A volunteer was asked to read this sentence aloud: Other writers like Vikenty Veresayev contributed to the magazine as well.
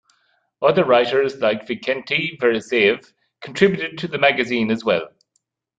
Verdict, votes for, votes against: accepted, 2, 0